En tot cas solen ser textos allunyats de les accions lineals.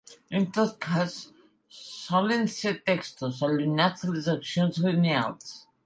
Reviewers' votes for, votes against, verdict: 2, 1, accepted